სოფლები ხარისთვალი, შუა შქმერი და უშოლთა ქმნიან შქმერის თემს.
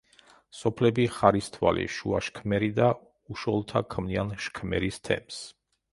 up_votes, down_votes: 2, 0